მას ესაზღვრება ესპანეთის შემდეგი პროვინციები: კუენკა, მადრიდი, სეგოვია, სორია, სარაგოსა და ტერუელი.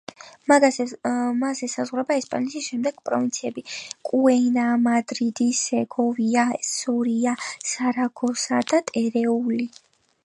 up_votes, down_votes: 1, 5